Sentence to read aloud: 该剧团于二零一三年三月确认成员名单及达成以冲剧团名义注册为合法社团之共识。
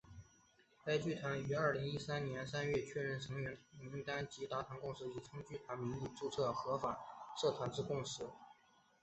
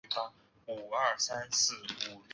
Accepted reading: first